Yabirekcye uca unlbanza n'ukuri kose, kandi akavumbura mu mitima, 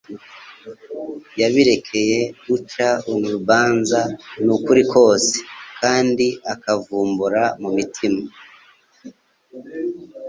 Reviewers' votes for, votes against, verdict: 2, 0, accepted